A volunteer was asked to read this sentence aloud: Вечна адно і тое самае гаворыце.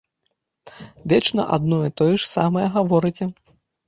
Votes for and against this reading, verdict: 1, 2, rejected